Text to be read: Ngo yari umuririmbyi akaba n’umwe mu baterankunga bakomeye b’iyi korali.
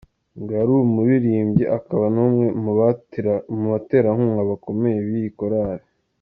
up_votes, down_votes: 2, 0